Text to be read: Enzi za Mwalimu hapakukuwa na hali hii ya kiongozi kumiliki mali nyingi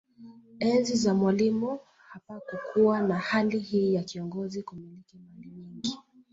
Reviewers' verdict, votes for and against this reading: rejected, 0, 2